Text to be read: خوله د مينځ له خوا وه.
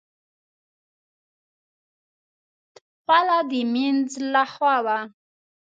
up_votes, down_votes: 1, 2